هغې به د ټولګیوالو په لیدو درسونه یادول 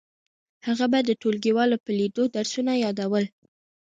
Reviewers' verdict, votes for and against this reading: accepted, 3, 0